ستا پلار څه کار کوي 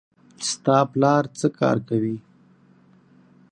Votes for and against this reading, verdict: 6, 0, accepted